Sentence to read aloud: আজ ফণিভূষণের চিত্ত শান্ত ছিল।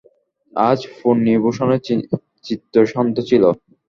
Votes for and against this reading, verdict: 2, 1, accepted